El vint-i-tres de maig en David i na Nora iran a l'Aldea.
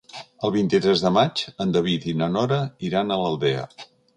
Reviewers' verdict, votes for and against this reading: accepted, 2, 0